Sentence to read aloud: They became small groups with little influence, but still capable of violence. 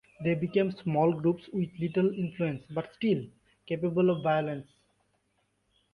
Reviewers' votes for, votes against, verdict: 2, 0, accepted